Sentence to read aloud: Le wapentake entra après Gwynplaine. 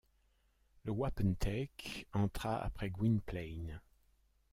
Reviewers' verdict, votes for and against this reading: rejected, 0, 2